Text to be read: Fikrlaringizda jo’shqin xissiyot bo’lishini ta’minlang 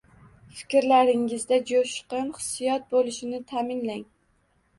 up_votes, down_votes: 2, 0